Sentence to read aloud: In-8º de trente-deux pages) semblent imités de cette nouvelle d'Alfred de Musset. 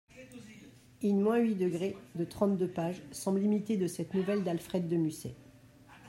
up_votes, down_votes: 0, 2